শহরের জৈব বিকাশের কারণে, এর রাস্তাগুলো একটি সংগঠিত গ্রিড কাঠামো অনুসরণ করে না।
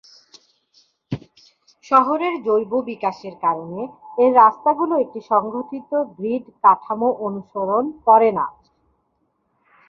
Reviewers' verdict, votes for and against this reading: accepted, 5, 0